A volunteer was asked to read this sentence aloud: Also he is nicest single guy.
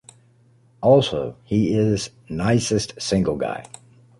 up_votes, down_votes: 2, 0